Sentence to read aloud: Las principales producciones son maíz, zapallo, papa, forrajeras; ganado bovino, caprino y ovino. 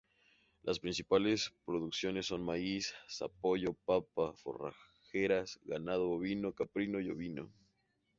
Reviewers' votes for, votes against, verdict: 2, 0, accepted